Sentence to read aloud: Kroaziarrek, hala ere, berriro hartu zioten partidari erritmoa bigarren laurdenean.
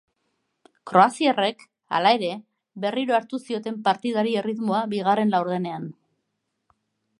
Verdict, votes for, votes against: accepted, 2, 0